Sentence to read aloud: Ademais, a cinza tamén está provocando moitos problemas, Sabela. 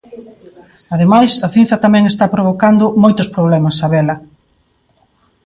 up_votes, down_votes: 2, 0